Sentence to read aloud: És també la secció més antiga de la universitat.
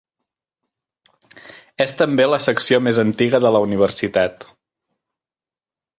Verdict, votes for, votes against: accepted, 2, 0